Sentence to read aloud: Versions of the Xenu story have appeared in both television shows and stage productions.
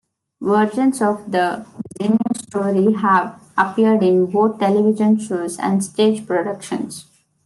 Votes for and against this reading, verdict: 0, 3, rejected